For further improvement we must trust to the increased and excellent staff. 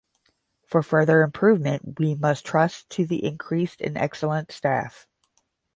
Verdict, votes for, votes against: accepted, 10, 0